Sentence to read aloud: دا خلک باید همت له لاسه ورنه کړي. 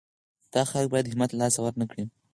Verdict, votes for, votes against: accepted, 4, 0